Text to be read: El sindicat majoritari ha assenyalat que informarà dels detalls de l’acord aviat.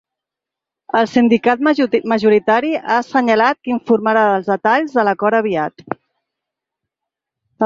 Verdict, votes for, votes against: rejected, 1, 2